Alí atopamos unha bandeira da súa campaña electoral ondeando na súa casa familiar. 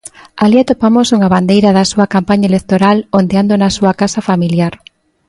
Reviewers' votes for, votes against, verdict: 2, 0, accepted